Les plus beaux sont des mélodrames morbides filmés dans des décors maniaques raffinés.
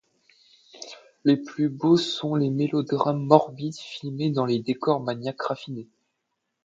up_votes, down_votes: 0, 2